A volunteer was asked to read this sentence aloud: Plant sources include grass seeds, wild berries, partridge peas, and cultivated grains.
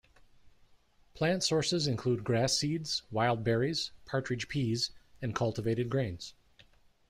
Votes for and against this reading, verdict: 2, 0, accepted